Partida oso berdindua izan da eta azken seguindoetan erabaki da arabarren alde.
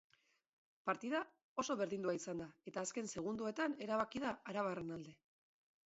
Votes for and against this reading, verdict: 2, 1, accepted